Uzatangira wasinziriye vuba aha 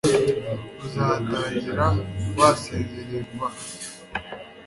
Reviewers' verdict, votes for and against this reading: accepted, 2, 0